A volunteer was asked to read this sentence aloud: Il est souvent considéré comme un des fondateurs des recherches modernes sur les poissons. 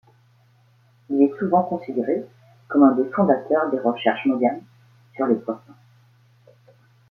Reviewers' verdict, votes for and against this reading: rejected, 1, 2